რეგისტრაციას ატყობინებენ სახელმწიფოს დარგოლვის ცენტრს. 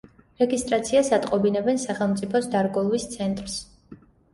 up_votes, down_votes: 2, 0